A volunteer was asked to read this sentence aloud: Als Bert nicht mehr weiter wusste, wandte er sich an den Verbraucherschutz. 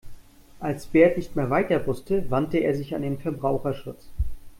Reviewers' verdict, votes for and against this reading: accepted, 2, 0